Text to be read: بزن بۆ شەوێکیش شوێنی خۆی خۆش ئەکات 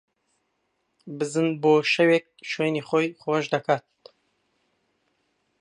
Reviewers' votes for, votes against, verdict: 1, 2, rejected